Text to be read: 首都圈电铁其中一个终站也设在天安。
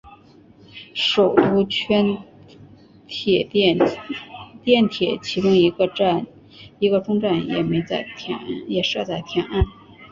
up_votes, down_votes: 3, 0